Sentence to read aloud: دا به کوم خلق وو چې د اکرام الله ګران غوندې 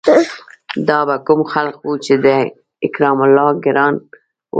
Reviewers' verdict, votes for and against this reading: rejected, 1, 2